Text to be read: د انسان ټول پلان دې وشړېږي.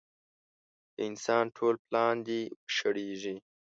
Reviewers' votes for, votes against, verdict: 1, 2, rejected